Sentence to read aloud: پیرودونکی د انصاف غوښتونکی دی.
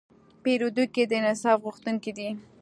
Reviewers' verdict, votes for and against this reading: accepted, 2, 0